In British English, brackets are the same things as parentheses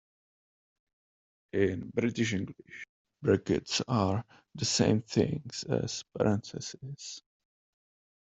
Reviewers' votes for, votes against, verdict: 2, 0, accepted